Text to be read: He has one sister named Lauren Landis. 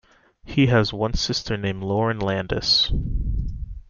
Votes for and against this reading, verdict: 2, 0, accepted